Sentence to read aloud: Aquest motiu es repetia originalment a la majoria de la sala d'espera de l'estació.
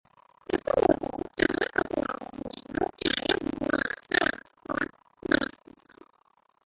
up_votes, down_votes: 0, 2